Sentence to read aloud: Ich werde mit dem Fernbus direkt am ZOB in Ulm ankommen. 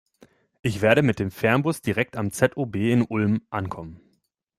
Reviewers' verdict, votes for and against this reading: accepted, 3, 1